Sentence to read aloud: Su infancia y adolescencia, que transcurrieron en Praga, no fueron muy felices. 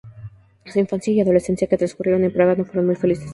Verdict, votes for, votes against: rejected, 0, 2